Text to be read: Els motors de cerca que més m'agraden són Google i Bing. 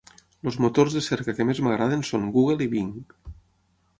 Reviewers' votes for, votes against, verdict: 6, 0, accepted